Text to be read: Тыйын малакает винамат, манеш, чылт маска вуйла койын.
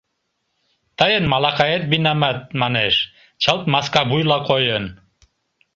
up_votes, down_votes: 2, 0